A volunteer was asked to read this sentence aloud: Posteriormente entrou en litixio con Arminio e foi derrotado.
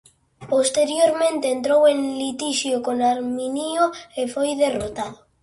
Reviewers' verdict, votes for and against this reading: rejected, 0, 2